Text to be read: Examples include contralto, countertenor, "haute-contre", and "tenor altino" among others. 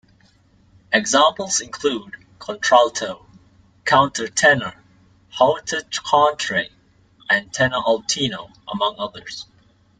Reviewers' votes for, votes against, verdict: 1, 2, rejected